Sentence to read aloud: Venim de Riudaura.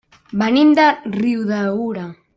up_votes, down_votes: 0, 2